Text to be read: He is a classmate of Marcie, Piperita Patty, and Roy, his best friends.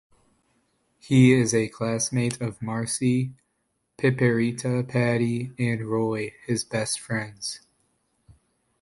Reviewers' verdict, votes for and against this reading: accepted, 3, 1